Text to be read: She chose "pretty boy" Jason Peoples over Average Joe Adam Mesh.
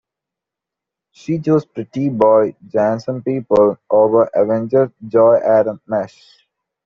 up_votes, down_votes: 0, 2